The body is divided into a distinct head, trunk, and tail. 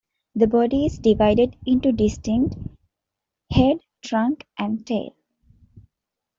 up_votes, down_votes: 0, 2